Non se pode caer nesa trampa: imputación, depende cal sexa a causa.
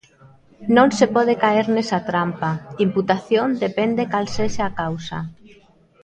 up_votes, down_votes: 1, 2